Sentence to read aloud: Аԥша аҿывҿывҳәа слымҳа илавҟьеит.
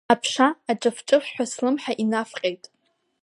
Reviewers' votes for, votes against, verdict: 3, 1, accepted